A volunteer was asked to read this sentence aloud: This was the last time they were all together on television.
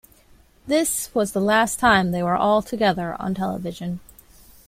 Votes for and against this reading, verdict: 2, 0, accepted